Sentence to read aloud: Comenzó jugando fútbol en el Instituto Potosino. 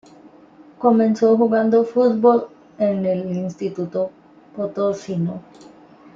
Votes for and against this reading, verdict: 2, 0, accepted